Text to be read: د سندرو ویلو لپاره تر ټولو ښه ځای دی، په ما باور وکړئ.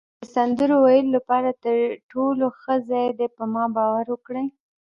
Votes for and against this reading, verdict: 2, 1, accepted